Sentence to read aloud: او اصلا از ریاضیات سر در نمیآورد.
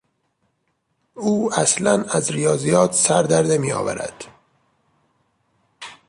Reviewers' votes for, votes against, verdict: 2, 0, accepted